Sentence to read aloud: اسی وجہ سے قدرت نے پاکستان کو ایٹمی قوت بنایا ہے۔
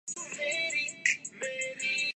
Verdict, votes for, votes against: rejected, 0, 2